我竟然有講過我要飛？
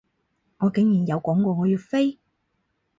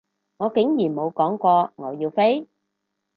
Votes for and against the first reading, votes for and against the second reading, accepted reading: 4, 0, 2, 2, first